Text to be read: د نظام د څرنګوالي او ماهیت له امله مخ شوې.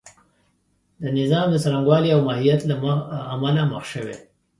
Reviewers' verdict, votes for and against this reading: accepted, 2, 0